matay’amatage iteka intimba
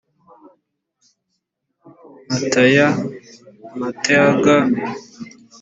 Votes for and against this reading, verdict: 1, 2, rejected